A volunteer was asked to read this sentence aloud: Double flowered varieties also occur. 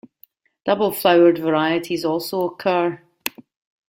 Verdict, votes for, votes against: accepted, 2, 0